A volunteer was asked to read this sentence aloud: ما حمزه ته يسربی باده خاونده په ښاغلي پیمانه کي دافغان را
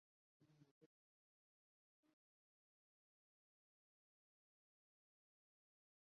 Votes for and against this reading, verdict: 0, 2, rejected